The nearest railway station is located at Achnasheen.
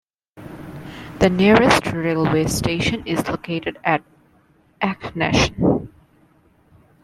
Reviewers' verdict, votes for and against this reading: rejected, 0, 2